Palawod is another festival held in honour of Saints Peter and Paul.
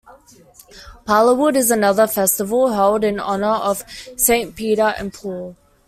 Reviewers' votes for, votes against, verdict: 1, 2, rejected